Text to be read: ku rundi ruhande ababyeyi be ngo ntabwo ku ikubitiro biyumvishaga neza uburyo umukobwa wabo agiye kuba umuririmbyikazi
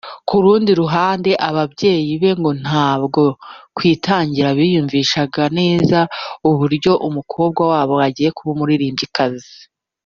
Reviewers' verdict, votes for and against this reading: rejected, 0, 2